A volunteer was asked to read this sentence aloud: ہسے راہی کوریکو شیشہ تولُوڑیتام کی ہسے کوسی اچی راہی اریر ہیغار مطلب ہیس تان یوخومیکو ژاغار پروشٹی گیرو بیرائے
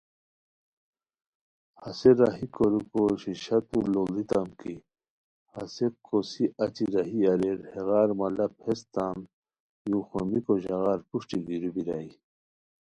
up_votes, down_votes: 2, 0